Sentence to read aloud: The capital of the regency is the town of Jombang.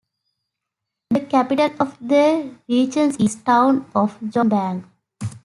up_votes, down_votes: 0, 2